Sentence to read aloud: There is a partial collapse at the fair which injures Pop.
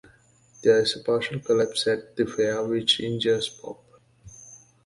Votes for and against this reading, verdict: 2, 0, accepted